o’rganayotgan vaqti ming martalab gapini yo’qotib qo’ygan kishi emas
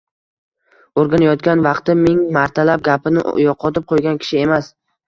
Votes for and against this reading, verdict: 1, 2, rejected